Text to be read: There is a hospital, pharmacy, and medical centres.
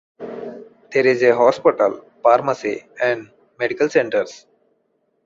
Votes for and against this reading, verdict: 2, 0, accepted